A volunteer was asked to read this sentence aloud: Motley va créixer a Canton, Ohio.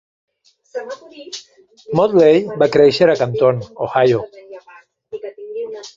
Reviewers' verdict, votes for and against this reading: rejected, 0, 2